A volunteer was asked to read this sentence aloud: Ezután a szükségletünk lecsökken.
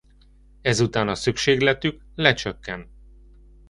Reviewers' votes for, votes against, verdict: 0, 2, rejected